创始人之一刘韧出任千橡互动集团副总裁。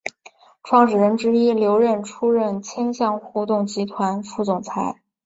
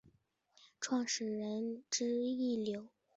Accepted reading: first